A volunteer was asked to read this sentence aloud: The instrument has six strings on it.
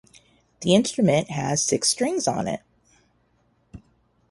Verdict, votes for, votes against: rejected, 0, 2